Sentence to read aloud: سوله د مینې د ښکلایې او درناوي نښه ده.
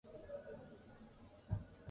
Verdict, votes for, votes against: rejected, 0, 2